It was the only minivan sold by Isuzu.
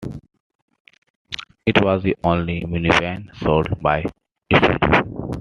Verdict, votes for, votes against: rejected, 0, 2